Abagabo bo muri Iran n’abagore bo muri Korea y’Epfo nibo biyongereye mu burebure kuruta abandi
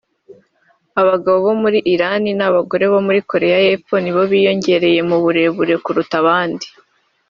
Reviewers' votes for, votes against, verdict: 3, 0, accepted